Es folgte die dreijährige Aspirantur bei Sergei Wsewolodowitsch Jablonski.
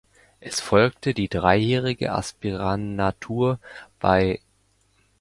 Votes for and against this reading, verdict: 0, 2, rejected